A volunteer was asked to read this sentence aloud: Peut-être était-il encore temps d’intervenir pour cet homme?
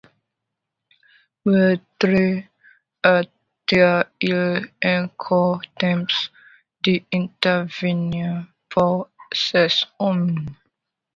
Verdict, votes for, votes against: rejected, 0, 2